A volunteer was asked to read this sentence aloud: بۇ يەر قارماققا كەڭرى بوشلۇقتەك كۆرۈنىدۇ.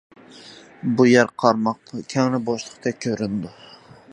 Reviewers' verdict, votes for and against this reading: accepted, 2, 1